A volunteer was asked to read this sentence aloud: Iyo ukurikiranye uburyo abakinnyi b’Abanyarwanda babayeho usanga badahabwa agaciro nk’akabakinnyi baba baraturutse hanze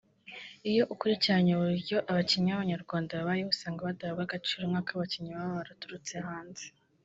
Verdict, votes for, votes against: rejected, 2, 3